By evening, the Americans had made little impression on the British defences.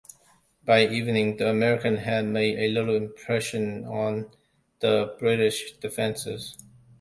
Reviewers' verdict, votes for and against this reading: rejected, 1, 2